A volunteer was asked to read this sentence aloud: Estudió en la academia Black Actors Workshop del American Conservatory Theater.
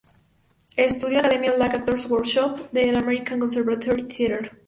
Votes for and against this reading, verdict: 4, 0, accepted